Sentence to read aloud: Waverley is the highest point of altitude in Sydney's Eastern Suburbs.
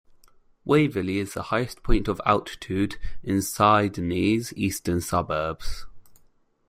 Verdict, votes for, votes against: rejected, 0, 2